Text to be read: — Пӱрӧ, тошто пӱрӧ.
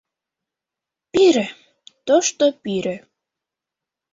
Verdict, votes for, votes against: rejected, 1, 2